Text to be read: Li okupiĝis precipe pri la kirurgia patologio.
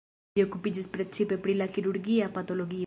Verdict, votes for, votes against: rejected, 1, 2